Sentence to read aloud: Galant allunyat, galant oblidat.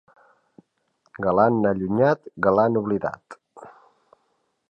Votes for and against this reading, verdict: 3, 0, accepted